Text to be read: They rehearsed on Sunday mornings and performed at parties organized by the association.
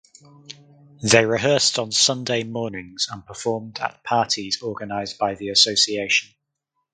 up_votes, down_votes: 2, 0